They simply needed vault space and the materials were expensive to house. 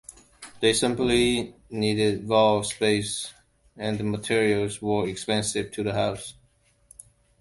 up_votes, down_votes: 0, 2